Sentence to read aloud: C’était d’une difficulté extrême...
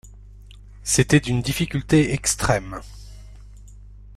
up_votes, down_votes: 2, 0